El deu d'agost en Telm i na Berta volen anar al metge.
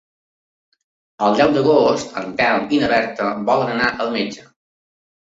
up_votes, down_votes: 3, 0